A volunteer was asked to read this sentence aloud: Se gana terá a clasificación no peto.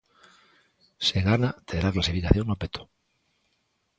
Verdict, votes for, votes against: accepted, 2, 0